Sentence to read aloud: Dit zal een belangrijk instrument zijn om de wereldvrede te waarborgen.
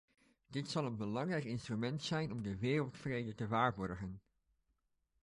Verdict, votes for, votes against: accepted, 2, 0